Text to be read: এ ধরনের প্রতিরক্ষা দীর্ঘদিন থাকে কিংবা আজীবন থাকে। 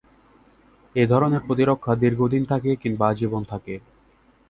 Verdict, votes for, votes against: accepted, 2, 0